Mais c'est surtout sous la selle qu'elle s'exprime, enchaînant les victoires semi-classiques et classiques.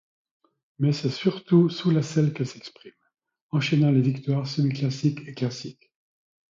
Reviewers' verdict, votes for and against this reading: accepted, 2, 0